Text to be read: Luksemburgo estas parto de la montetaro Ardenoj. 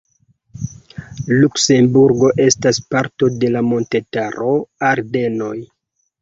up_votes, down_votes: 2, 1